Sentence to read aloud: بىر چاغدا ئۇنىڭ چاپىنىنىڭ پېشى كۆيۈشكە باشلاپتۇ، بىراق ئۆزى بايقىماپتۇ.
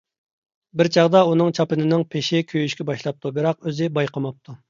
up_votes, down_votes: 2, 0